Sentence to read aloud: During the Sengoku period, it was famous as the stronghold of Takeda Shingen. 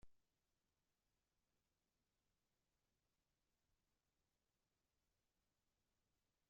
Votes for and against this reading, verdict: 0, 2, rejected